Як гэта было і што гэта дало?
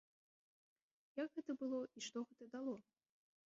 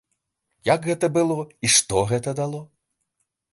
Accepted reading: second